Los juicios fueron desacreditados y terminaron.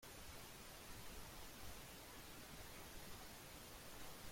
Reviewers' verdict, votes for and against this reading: rejected, 0, 3